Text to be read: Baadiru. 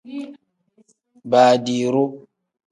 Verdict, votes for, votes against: accepted, 2, 0